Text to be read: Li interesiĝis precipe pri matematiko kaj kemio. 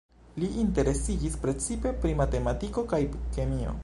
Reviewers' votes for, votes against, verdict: 2, 0, accepted